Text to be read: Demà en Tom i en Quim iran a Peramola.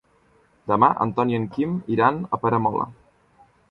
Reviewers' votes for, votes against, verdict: 3, 1, accepted